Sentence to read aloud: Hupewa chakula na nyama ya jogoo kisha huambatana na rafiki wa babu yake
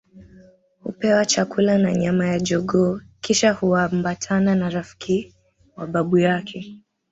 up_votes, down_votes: 2, 1